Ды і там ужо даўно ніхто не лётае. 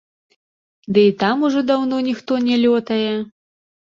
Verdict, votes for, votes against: accepted, 2, 0